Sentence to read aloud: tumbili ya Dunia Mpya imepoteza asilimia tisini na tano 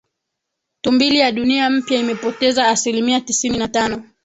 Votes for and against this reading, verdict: 3, 0, accepted